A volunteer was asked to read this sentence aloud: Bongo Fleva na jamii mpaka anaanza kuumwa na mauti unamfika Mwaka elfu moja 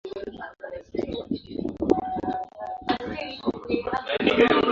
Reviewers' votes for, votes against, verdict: 0, 2, rejected